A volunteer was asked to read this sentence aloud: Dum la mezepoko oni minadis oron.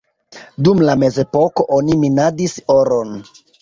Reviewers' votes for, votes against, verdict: 2, 1, accepted